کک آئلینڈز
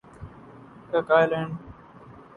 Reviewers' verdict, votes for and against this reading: rejected, 2, 2